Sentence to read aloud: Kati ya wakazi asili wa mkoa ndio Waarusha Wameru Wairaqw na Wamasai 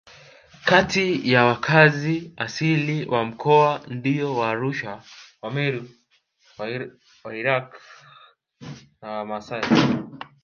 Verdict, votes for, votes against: rejected, 0, 2